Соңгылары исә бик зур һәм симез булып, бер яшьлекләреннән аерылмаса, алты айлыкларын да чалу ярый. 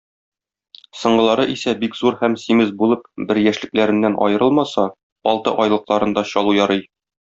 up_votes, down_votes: 2, 0